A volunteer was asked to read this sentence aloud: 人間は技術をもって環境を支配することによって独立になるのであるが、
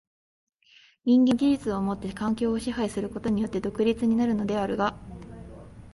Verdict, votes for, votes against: rejected, 1, 2